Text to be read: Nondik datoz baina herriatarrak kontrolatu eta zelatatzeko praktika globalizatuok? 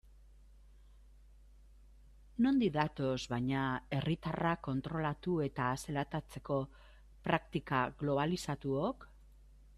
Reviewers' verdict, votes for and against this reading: rejected, 1, 2